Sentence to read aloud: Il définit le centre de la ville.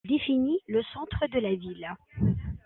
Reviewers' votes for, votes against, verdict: 1, 2, rejected